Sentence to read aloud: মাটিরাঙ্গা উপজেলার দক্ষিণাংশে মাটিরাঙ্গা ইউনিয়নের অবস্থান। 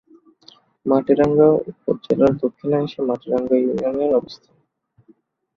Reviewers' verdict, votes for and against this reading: accepted, 15, 5